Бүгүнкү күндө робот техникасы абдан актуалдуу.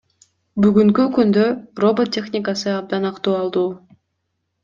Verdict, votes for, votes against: accepted, 2, 0